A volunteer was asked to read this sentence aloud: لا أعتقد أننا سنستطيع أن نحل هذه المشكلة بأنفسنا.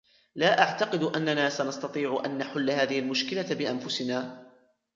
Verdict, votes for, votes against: rejected, 0, 2